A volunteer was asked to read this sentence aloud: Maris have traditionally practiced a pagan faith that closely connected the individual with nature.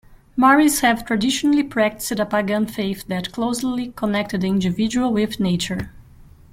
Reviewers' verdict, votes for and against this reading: rejected, 1, 2